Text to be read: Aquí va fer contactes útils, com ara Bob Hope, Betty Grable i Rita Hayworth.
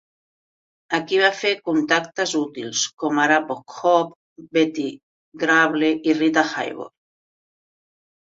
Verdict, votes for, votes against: accepted, 3, 0